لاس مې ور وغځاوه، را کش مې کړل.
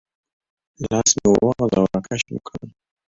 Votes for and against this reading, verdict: 3, 0, accepted